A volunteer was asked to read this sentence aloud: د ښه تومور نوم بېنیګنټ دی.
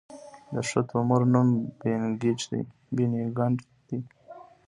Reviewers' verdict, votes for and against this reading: rejected, 1, 2